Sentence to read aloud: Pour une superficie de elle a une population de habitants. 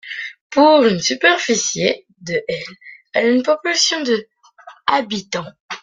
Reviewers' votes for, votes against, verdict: 2, 1, accepted